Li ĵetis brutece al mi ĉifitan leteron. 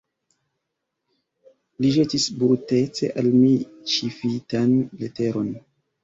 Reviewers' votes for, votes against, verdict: 0, 2, rejected